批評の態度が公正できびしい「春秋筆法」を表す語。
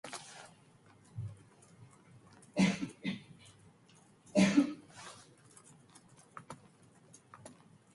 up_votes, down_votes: 0, 2